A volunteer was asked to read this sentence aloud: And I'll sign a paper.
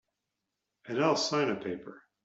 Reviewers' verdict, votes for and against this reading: accepted, 2, 0